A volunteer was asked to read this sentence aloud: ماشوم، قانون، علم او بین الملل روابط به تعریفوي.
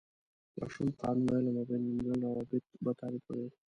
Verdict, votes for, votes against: rejected, 1, 2